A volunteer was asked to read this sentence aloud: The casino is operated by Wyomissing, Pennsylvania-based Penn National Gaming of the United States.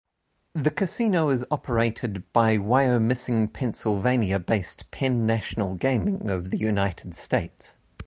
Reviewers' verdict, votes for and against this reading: accepted, 2, 0